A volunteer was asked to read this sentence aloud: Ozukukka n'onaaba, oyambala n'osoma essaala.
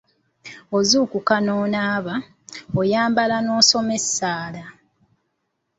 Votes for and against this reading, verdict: 2, 0, accepted